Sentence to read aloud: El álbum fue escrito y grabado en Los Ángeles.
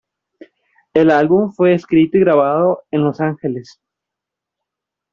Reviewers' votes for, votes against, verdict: 2, 0, accepted